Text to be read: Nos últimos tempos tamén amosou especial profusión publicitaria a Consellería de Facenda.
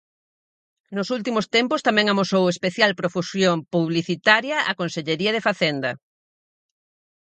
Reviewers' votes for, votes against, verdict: 4, 0, accepted